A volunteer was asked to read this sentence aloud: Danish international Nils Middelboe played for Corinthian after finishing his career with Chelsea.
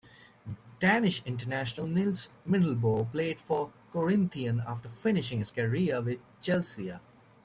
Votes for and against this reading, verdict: 1, 2, rejected